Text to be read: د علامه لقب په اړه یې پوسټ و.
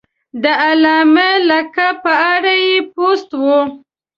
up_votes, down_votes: 2, 1